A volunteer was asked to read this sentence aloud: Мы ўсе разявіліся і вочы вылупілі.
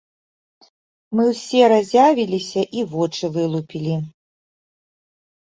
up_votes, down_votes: 2, 0